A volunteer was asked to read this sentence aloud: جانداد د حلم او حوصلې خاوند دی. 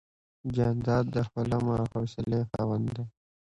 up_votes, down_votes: 2, 1